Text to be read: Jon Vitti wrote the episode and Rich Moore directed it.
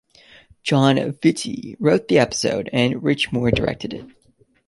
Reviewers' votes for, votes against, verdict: 2, 0, accepted